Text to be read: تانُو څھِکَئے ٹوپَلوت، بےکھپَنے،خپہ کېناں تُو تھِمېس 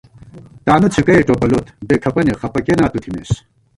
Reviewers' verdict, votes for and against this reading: accepted, 2, 0